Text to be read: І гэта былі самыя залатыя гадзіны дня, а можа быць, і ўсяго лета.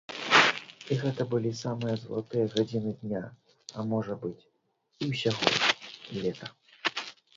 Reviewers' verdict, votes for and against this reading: rejected, 0, 2